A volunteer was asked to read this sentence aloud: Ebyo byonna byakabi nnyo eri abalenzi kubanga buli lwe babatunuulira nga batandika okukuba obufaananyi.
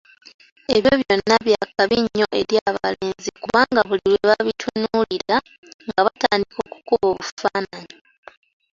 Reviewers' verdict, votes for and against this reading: rejected, 0, 3